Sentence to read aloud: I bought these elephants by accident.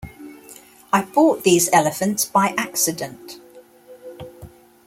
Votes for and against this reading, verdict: 2, 0, accepted